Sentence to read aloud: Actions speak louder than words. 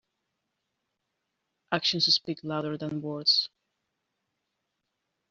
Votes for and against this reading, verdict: 2, 0, accepted